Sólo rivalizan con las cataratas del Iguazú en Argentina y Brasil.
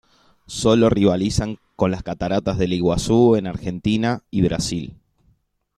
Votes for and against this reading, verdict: 2, 0, accepted